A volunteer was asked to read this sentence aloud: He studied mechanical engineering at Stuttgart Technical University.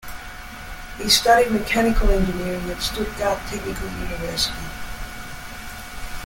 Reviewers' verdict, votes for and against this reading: accepted, 2, 1